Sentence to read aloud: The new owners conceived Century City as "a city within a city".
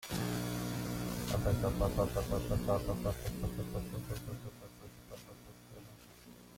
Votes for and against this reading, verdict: 0, 2, rejected